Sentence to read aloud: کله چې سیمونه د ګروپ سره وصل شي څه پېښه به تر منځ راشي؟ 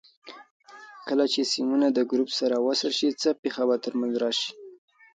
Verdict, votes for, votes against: accepted, 2, 0